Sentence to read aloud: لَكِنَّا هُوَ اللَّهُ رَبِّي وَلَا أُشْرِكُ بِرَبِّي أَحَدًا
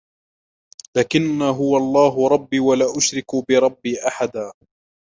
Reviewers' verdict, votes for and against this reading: accepted, 2, 0